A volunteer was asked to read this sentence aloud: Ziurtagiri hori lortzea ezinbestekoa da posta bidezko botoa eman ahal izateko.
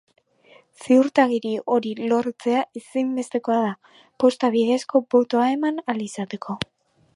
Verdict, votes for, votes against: accepted, 2, 1